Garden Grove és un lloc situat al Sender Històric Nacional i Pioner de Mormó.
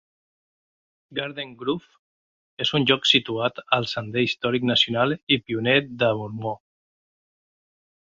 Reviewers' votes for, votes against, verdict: 2, 0, accepted